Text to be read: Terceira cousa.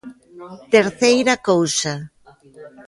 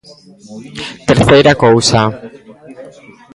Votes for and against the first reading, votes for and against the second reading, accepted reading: 2, 0, 1, 2, first